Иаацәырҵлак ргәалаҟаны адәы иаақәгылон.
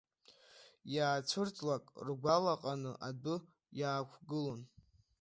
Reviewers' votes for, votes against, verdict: 2, 1, accepted